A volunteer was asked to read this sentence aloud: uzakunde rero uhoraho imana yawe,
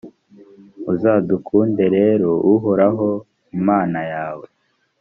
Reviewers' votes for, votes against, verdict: 1, 2, rejected